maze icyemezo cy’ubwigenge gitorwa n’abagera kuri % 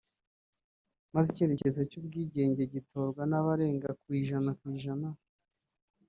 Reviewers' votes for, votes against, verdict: 0, 2, rejected